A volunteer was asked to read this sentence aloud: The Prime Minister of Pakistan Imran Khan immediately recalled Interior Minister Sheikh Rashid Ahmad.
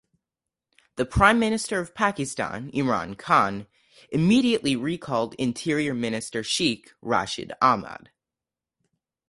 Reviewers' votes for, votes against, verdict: 4, 0, accepted